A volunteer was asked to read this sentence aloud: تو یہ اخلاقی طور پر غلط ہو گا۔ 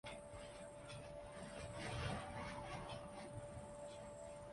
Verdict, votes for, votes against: rejected, 0, 2